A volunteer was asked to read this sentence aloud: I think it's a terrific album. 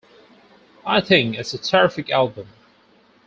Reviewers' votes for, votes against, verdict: 4, 0, accepted